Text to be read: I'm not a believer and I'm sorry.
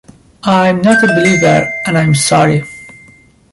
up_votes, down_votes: 1, 2